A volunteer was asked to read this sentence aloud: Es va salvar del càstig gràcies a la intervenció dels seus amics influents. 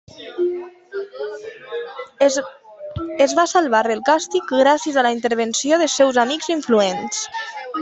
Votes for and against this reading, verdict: 0, 2, rejected